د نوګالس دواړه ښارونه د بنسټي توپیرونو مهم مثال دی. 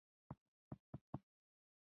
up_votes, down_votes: 1, 2